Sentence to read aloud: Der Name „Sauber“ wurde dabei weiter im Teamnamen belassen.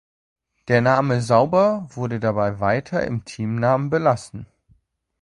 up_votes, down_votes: 2, 0